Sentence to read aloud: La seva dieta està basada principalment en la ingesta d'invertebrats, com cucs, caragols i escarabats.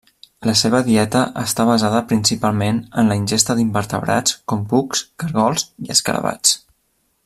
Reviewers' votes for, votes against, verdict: 2, 0, accepted